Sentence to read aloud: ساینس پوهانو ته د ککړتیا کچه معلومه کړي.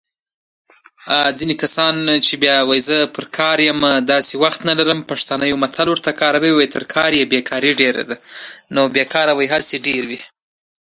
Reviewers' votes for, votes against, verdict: 0, 2, rejected